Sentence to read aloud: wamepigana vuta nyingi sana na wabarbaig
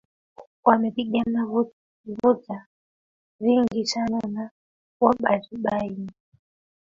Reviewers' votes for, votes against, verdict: 0, 2, rejected